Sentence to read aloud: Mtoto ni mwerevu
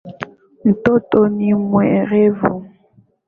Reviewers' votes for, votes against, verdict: 3, 0, accepted